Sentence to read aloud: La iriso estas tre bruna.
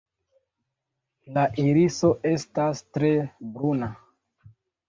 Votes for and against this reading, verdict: 1, 2, rejected